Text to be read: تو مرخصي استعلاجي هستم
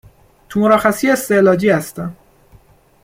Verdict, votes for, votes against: accepted, 2, 0